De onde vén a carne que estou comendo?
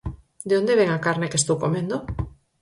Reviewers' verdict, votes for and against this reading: accepted, 4, 0